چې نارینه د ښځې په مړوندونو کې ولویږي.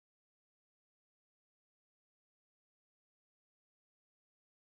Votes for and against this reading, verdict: 0, 2, rejected